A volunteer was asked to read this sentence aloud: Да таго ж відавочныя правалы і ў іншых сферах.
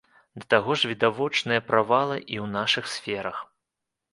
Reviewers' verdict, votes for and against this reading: rejected, 0, 2